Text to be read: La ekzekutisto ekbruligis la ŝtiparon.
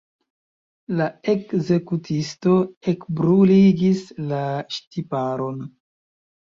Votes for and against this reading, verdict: 1, 2, rejected